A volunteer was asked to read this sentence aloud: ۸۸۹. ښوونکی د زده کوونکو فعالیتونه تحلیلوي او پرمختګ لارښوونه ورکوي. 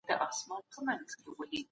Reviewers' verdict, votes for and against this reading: rejected, 0, 2